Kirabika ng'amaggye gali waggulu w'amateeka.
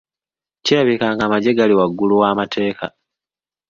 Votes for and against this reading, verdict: 2, 0, accepted